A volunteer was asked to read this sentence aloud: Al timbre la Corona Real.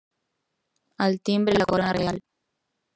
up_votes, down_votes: 0, 2